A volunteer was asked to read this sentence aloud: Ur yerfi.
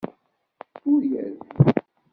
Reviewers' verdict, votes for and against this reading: rejected, 0, 2